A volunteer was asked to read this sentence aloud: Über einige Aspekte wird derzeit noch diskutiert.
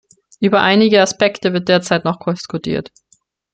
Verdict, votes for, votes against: rejected, 0, 2